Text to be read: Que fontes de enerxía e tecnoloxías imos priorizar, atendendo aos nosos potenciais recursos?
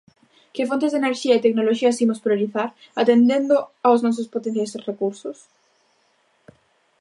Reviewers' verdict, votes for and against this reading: accepted, 3, 0